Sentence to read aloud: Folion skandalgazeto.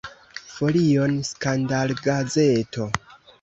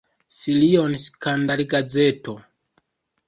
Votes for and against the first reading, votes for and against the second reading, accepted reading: 2, 1, 1, 2, first